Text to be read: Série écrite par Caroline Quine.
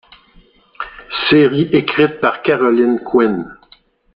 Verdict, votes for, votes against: rejected, 1, 2